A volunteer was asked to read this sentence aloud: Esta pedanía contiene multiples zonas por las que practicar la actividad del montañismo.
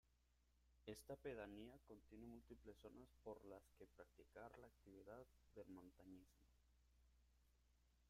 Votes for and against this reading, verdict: 0, 3, rejected